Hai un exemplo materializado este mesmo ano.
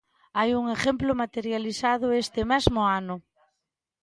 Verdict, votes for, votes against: rejected, 0, 2